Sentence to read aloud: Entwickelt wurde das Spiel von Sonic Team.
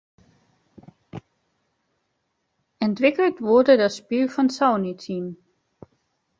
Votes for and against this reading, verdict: 0, 3, rejected